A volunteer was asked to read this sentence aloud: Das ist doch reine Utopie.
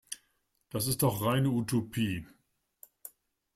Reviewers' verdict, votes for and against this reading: accepted, 2, 0